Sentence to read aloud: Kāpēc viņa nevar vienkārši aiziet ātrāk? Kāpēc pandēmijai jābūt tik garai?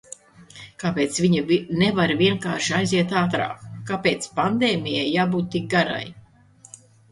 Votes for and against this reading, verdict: 0, 2, rejected